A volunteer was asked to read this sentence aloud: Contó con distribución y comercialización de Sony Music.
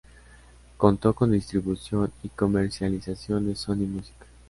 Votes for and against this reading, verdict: 2, 1, accepted